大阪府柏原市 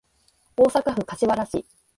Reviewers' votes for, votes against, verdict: 2, 0, accepted